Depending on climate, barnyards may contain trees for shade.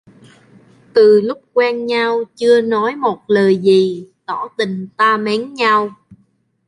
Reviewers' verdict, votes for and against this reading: rejected, 0, 2